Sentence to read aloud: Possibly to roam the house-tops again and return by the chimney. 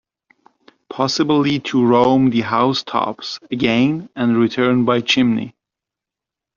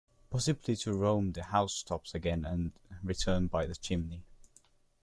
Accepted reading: second